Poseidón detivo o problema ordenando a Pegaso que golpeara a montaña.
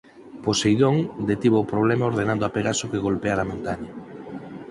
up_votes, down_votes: 4, 2